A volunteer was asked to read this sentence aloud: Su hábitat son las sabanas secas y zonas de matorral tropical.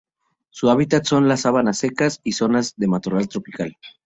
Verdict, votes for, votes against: accepted, 4, 0